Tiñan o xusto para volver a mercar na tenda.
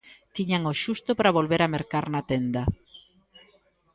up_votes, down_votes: 1, 2